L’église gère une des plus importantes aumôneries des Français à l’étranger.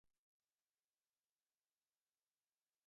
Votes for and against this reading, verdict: 0, 2, rejected